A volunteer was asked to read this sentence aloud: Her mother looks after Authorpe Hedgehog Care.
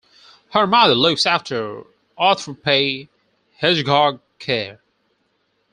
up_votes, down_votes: 2, 4